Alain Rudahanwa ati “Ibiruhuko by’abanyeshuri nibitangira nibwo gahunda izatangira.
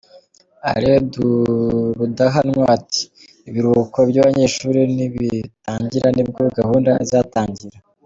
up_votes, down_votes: 1, 2